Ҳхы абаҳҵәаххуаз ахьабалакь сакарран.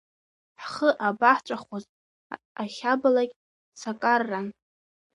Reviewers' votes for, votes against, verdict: 0, 2, rejected